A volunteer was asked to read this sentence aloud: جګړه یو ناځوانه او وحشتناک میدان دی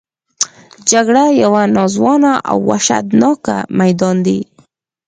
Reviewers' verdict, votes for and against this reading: accepted, 4, 0